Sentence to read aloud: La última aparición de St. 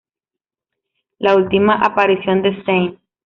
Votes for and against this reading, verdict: 2, 0, accepted